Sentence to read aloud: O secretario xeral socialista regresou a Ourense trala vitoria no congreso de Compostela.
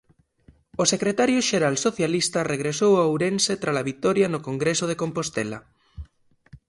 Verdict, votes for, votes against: accepted, 2, 1